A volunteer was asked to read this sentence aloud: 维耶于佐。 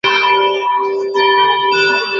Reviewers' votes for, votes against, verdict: 0, 2, rejected